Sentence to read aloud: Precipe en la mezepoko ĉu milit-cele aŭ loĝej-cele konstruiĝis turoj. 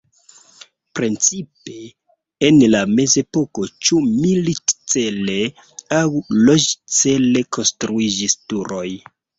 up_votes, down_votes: 0, 2